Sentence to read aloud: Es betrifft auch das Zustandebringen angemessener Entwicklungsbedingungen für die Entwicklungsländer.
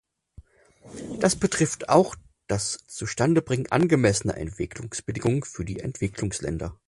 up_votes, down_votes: 0, 6